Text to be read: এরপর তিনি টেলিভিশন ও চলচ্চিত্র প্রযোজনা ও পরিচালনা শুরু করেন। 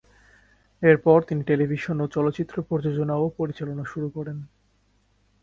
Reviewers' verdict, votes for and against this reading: accepted, 5, 0